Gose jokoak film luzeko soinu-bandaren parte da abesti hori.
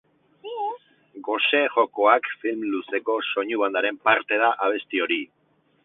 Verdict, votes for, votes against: rejected, 2, 2